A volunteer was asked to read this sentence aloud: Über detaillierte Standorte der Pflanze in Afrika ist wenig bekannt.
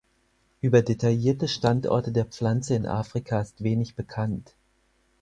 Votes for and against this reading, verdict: 4, 0, accepted